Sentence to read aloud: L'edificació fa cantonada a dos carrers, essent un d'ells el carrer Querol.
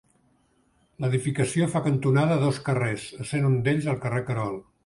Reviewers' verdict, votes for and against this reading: accepted, 2, 0